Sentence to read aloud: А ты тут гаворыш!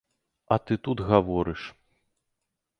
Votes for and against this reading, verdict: 2, 0, accepted